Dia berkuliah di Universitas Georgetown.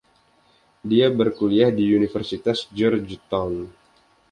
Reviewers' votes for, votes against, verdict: 2, 0, accepted